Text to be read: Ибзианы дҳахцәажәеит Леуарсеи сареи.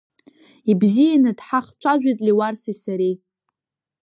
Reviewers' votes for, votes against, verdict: 1, 2, rejected